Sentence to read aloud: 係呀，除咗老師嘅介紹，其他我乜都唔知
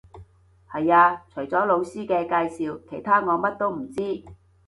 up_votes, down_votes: 2, 0